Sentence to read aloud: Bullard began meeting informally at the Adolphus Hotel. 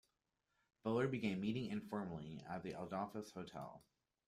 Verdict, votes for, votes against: accepted, 2, 0